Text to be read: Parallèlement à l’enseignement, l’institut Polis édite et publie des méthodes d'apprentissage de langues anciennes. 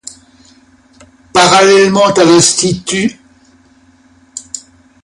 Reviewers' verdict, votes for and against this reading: rejected, 0, 2